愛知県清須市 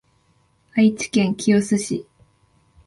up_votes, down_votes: 6, 0